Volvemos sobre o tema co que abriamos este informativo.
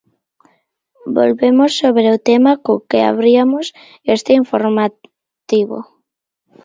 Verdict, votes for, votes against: rejected, 0, 2